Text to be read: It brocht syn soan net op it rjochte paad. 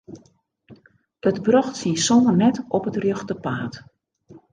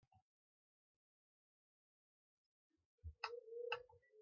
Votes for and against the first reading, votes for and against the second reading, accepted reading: 2, 0, 0, 2, first